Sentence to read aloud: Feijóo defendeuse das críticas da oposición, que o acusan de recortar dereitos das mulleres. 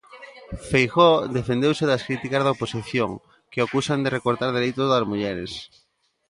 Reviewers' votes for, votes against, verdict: 1, 2, rejected